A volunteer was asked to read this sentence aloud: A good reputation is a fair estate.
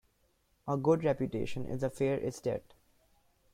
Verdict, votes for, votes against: rejected, 1, 2